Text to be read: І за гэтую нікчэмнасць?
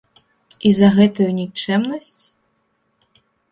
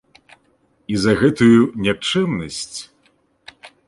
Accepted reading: first